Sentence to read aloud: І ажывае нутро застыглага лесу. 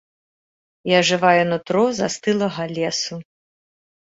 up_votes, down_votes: 0, 2